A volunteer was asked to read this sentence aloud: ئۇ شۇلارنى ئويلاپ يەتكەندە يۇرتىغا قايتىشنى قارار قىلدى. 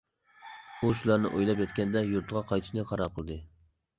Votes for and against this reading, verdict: 2, 0, accepted